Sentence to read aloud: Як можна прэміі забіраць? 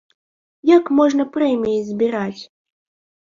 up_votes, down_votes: 1, 2